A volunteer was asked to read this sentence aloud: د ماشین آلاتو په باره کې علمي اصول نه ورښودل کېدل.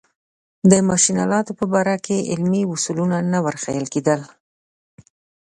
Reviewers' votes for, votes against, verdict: 1, 2, rejected